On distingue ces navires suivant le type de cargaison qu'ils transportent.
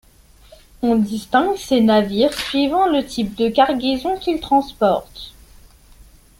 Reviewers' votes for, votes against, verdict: 1, 2, rejected